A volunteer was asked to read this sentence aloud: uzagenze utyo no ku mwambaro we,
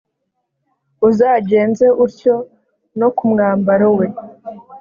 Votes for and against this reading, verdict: 4, 0, accepted